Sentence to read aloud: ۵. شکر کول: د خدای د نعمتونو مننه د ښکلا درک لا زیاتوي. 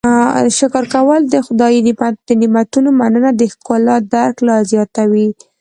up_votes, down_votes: 0, 2